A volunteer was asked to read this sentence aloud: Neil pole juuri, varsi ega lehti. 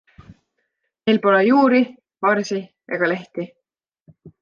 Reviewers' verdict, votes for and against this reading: accepted, 2, 0